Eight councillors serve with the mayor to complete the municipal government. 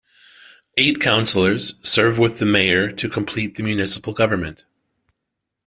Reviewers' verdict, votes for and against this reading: accepted, 2, 0